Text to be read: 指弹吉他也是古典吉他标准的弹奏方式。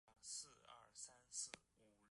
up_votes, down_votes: 0, 4